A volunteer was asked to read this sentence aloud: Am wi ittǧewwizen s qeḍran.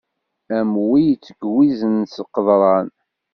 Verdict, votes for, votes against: rejected, 0, 2